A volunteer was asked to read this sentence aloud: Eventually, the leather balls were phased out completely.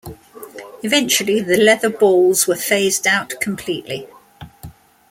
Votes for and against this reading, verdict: 2, 0, accepted